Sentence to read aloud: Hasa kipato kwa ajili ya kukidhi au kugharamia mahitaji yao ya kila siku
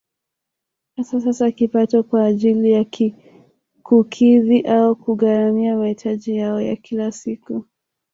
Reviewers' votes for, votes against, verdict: 1, 3, rejected